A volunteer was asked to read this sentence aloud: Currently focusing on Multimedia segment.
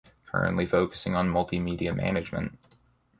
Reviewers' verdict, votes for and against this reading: rejected, 0, 2